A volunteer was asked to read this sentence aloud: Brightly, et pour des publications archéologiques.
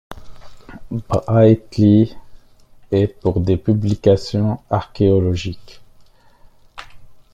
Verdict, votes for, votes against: rejected, 1, 2